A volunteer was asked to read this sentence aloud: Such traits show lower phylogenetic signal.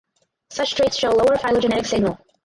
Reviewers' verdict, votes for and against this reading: rejected, 0, 4